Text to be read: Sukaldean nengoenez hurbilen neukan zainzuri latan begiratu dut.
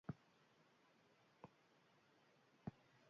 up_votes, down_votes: 0, 3